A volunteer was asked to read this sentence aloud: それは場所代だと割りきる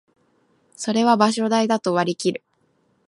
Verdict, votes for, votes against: accepted, 2, 0